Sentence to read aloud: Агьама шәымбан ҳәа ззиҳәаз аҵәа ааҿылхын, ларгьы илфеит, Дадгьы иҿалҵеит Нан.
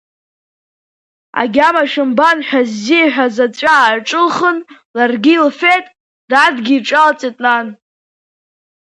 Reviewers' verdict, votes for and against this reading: accepted, 2, 0